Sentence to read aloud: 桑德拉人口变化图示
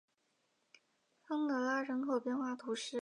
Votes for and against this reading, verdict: 2, 0, accepted